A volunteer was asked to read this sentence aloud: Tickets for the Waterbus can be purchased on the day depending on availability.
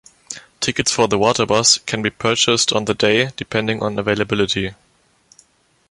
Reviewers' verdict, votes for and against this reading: accepted, 2, 0